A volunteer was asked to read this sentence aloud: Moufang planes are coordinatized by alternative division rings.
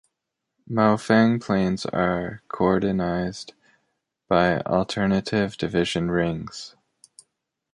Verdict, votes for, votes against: rejected, 0, 2